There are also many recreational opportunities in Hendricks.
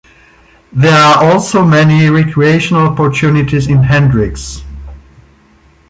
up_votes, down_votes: 1, 2